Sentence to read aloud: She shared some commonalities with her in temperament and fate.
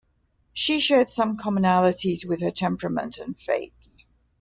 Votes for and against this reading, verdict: 1, 2, rejected